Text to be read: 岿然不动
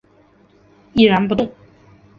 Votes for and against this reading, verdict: 0, 2, rejected